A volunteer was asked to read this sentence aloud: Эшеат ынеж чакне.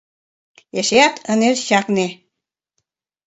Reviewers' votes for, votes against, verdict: 2, 0, accepted